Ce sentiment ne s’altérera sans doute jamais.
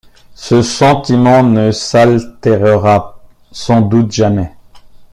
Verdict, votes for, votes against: accepted, 2, 1